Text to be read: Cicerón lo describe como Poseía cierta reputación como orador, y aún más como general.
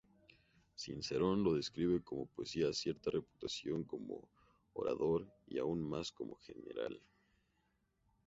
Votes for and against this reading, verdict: 2, 0, accepted